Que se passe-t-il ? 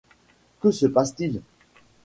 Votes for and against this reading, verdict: 2, 0, accepted